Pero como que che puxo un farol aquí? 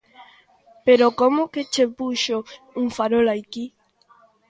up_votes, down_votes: 2, 0